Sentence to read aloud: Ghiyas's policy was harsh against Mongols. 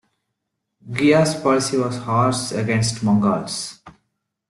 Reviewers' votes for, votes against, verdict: 2, 0, accepted